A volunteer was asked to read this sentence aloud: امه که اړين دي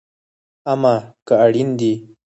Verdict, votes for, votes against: accepted, 4, 2